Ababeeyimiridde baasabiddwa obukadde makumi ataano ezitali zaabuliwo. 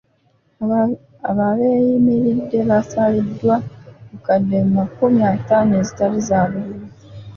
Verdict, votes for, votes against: rejected, 0, 2